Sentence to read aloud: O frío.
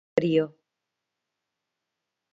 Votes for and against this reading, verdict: 0, 2, rejected